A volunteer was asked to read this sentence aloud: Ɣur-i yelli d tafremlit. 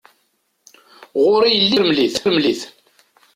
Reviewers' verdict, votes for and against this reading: rejected, 0, 2